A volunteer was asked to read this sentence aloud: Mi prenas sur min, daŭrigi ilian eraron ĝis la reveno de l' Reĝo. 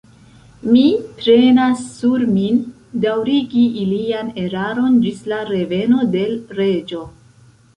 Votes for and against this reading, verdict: 0, 2, rejected